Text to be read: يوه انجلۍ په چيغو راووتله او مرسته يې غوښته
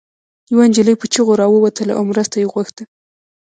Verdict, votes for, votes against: rejected, 0, 2